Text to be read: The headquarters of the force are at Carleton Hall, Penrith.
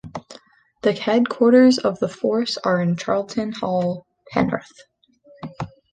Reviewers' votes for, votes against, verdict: 1, 2, rejected